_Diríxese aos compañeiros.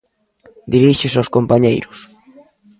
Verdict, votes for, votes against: accepted, 2, 0